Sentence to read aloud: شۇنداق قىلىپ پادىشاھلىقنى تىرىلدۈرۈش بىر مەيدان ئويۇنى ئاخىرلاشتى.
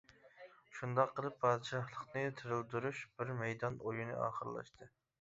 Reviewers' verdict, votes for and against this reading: accepted, 2, 0